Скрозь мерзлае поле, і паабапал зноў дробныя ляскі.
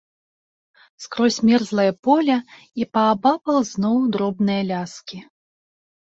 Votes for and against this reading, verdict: 2, 1, accepted